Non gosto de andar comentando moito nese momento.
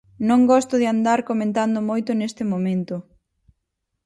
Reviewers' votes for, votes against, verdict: 0, 4, rejected